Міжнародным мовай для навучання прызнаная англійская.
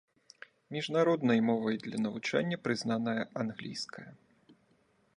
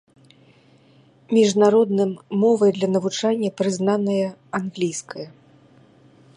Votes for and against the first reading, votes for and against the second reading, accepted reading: 2, 1, 1, 2, first